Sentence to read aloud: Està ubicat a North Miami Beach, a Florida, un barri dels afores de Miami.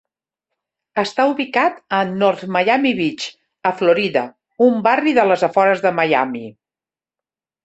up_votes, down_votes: 0, 2